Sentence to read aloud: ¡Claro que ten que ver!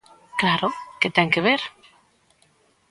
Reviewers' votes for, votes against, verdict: 2, 0, accepted